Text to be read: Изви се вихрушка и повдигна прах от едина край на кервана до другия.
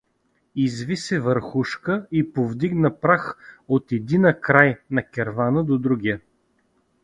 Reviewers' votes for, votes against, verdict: 1, 2, rejected